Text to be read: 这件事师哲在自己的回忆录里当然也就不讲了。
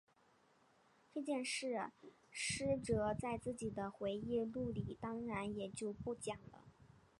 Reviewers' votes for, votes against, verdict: 1, 3, rejected